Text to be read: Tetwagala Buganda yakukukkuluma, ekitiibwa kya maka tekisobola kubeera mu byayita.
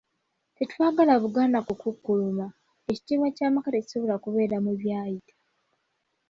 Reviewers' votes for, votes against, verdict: 2, 0, accepted